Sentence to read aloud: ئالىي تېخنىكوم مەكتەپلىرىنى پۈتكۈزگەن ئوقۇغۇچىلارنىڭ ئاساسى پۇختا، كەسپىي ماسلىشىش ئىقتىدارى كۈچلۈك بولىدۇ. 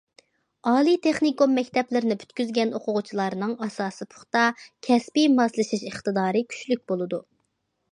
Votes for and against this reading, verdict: 2, 0, accepted